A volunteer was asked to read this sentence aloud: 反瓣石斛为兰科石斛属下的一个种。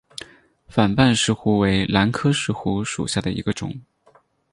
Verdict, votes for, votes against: accepted, 4, 2